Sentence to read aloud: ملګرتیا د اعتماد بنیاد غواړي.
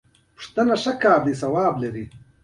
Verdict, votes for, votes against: rejected, 1, 3